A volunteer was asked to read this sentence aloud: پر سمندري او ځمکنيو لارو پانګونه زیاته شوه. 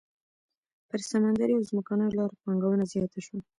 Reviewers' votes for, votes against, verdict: 2, 1, accepted